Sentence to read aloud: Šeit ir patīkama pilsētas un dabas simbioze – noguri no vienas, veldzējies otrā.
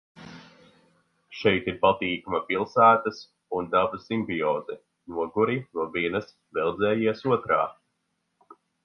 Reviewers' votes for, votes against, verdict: 4, 0, accepted